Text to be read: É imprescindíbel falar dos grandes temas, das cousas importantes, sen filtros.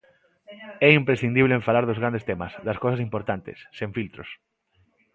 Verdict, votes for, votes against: rejected, 0, 2